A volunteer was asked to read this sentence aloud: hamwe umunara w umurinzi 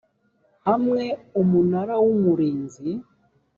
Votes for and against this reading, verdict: 2, 0, accepted